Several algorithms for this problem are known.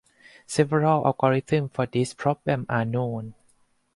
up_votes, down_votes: 2, 2